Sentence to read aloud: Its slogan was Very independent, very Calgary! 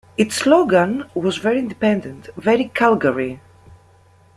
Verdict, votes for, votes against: accepted, 2, 0